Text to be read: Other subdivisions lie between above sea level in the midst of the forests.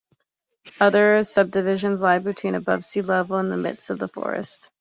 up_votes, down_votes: 2, 0